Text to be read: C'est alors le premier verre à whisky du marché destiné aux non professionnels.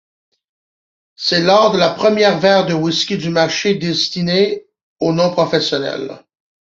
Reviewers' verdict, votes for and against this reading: rejected, 0, 2